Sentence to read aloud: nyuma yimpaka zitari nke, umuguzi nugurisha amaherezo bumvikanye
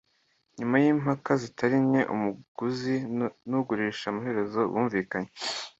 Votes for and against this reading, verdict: 2, 1, accepted